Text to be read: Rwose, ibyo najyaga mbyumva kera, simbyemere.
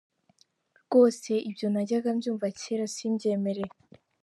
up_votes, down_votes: 2, 0